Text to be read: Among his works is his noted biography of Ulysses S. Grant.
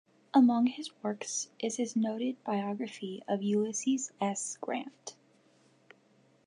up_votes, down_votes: 2, 0